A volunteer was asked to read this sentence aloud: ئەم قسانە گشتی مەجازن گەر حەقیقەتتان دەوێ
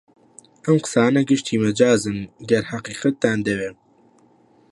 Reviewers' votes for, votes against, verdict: 2, 0, accepted